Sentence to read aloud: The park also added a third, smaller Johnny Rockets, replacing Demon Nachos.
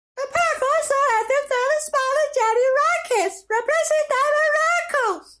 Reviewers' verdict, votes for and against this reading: rejected, 1, 2